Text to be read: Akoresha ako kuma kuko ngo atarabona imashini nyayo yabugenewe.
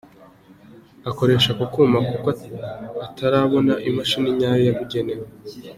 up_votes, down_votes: 2, 0